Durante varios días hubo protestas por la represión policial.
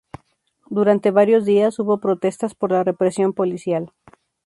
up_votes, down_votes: 2, 0